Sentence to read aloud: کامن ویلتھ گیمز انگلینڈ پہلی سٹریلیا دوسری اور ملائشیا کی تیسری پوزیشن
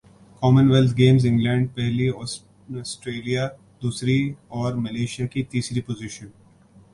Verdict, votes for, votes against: accepted, 2, 0